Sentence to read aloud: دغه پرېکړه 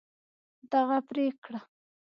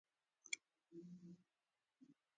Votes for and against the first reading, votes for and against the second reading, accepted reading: 2, 0, 1, 2, first